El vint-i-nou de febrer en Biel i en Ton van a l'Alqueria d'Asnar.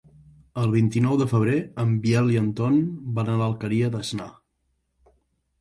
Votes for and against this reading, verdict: 2, 0, accepted